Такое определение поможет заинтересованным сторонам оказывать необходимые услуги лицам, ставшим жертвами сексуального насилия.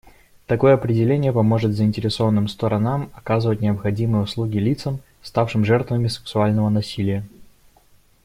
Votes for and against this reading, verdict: 1, 2, rejected